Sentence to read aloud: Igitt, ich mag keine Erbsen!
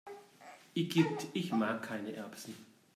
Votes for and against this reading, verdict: 1, 2, rejected